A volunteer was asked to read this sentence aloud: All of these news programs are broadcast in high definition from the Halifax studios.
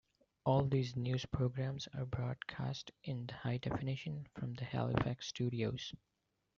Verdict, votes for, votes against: accepted, 2, 1